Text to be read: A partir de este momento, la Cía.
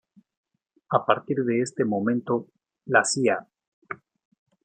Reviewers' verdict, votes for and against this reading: accepted, 2, 1